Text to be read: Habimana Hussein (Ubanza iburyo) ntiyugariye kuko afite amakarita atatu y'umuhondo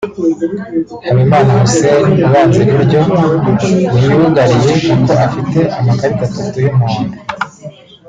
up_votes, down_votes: 2, 0